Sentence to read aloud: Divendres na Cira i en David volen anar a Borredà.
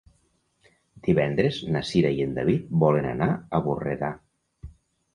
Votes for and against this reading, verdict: 4, 0, accepted